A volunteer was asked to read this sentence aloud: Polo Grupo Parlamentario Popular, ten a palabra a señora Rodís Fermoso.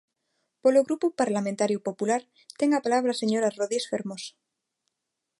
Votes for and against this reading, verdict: 2, 0, accepted